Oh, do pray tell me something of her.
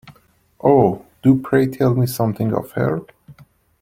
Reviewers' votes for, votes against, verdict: 2, 1, accepted